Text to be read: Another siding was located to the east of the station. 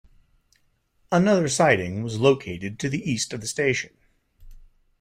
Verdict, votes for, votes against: accepted, 2, 0